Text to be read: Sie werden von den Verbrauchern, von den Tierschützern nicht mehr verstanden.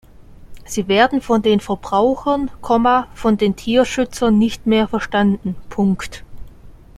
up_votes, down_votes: 0, 2